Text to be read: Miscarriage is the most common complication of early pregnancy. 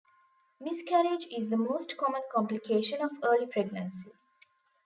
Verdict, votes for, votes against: accepted, 2, 0